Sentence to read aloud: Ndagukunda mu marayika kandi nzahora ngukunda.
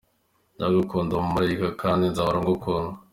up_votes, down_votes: 2, 0